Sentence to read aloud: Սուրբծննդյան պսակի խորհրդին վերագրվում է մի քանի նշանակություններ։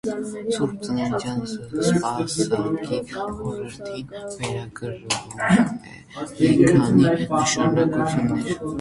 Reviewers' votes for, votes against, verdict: 0, 2, rejected